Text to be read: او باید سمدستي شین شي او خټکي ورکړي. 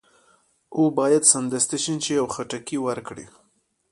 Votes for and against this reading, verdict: 2, 0, accepted